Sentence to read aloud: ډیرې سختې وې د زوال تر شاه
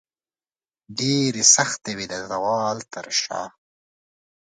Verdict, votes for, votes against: accepted, 2, 0